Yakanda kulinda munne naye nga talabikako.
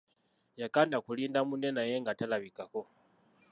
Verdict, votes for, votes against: rejected, 0, 2